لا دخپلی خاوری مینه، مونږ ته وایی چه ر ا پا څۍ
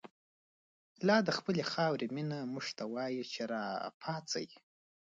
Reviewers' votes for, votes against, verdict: 2, 0, accepted